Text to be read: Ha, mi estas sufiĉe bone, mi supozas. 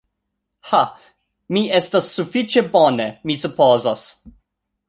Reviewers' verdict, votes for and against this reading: accepted, 2, 0